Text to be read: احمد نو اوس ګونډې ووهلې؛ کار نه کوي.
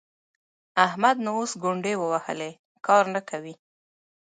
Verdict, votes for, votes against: rejected, 1, 2